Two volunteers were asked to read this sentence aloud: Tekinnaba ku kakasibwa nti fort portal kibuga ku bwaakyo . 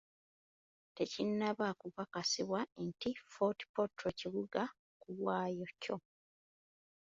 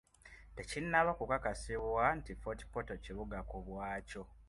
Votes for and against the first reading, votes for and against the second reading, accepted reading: 0, 2, 2, 0, second